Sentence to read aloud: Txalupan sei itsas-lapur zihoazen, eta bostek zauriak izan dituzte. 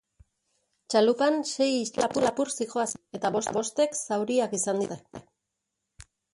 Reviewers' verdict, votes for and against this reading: rejected, 0, 2